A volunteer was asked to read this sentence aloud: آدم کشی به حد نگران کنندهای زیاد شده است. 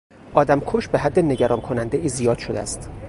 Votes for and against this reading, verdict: 0, 2, rejected